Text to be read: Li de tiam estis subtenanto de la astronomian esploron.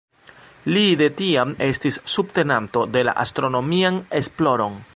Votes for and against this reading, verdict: 2, 0, accepted